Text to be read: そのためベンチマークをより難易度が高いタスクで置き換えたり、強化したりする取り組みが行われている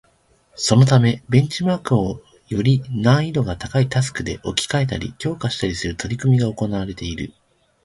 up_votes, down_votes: 2, 0